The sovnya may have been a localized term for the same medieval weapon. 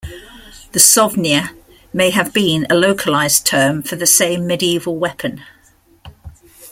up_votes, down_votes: 2, 0